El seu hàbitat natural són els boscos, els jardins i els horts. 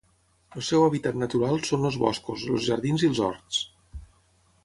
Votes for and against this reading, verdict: 3, 3, rejected